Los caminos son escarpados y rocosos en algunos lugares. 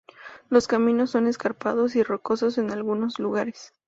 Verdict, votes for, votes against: accepted, 4, 0